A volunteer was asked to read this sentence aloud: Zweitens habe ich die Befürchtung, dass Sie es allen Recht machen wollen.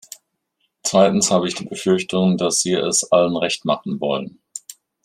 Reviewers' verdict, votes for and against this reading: accepted, 2, 0